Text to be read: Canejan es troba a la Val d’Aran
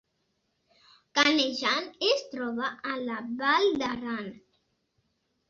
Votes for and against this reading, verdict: 1, 2, rejected